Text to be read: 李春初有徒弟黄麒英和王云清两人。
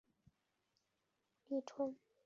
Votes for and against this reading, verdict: 0, 3, rejected